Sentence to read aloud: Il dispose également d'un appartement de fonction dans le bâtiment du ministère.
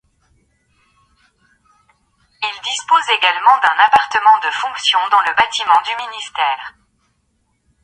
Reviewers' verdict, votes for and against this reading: rejected, 1, 2